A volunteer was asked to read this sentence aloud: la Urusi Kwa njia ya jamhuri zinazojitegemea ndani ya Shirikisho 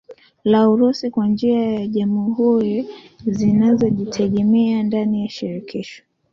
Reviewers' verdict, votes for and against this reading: accepted, 2, 1